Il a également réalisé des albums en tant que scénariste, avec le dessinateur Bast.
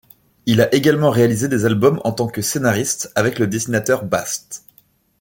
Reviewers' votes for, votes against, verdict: 2, 0, accepted